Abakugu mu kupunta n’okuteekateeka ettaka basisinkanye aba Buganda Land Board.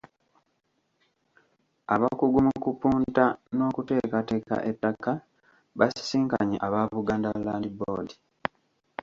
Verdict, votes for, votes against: rejected, 0, 2